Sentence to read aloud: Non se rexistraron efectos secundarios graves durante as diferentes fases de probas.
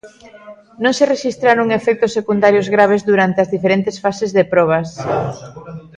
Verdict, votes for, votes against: rejected, 1, 2